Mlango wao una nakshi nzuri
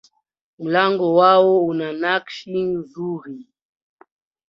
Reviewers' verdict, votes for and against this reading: rejected, 1, 2